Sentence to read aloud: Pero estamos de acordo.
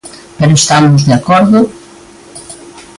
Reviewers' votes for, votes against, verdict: 2, 0, accepted